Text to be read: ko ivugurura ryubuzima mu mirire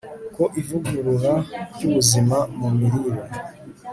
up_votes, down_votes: 2, 0